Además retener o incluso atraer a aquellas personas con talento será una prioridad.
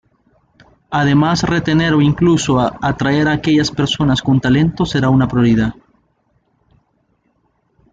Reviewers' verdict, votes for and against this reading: rejected, 1, 2